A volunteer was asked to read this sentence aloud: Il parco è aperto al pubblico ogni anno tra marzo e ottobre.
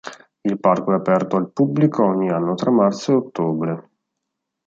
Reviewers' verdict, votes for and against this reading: accepted, 2, 0